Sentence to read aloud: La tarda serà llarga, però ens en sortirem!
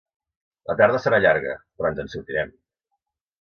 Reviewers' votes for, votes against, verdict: 2, 0, accepted